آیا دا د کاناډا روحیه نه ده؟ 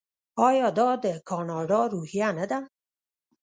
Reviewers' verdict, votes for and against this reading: rejected, 1, 2